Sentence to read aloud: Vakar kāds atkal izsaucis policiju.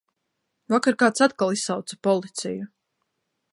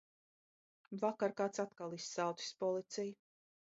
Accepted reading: second